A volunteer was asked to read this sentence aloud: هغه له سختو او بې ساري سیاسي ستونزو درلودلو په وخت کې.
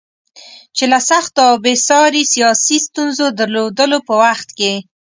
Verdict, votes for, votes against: rejected, 1, 2